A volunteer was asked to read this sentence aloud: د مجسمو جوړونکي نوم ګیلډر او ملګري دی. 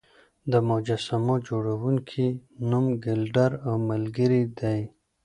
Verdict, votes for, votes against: accepted, 2, 0